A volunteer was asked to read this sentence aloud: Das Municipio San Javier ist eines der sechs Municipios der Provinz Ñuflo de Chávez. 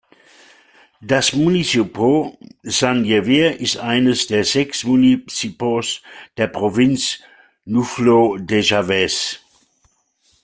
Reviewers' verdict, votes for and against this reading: rejected, 0, 2